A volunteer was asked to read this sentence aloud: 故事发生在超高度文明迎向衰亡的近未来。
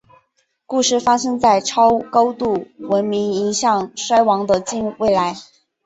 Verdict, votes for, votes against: accepted, 2, 0